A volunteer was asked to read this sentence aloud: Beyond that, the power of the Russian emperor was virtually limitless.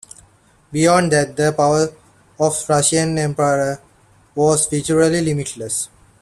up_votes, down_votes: 1, 2